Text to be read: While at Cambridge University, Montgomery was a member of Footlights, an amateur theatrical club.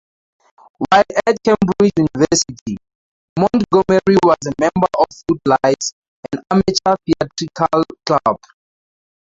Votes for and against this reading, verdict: 2, 2, rejected